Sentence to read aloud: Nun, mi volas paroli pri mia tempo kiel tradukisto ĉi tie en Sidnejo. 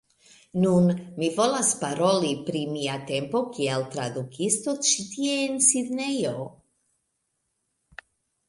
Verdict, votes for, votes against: accepted, 2, 1